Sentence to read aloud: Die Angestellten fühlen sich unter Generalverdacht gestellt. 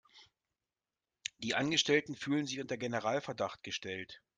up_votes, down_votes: 2, 0